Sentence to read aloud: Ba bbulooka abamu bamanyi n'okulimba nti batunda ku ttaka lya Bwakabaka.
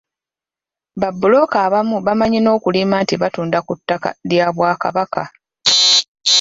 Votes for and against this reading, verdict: 2, 0, accepted